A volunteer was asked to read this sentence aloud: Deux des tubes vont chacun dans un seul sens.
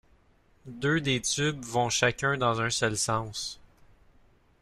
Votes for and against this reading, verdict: 0, 2, rejected